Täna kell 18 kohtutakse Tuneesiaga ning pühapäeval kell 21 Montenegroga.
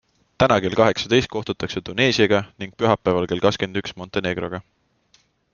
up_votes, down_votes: 0, 2